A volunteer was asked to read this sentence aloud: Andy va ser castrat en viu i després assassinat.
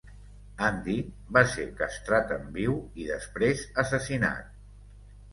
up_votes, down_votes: 2, 0